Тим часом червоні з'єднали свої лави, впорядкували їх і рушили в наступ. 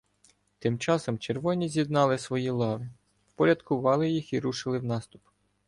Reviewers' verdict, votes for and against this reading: accepted, 2, 0